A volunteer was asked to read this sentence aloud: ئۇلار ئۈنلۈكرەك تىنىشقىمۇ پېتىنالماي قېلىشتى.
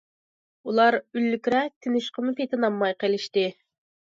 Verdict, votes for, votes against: accepted, 2, 0